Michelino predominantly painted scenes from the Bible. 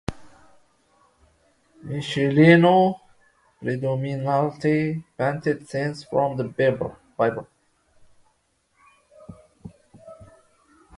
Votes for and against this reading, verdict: 0, 2, rejected